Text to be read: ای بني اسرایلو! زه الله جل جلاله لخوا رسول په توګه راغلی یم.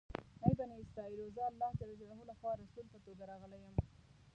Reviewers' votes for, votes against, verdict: 0, 2, rejected